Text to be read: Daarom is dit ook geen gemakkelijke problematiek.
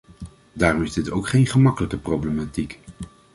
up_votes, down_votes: 2, 0